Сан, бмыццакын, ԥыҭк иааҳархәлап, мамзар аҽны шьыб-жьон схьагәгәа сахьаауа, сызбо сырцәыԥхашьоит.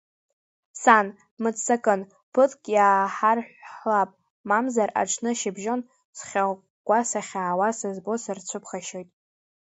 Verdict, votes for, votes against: rejected, 0, 2